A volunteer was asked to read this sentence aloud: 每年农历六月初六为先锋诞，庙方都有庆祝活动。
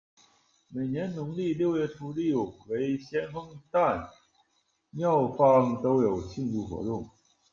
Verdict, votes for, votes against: rejected, 1, 2